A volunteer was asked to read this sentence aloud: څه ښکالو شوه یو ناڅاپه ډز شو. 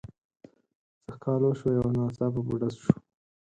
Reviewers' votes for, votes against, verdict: 4, 0, accepted